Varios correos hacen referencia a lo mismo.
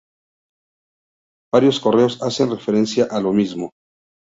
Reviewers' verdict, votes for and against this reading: accepted, 2, 0